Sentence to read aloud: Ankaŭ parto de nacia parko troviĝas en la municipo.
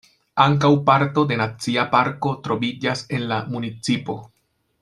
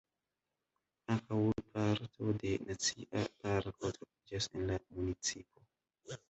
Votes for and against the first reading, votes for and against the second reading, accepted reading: 2, 0, 0, 2, first